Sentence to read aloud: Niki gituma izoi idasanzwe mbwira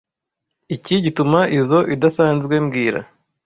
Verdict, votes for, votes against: rejected, 1, 2